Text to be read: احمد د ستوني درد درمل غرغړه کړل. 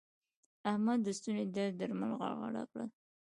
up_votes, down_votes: 2, 1